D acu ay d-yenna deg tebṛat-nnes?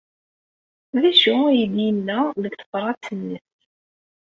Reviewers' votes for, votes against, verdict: 1, 2, rejected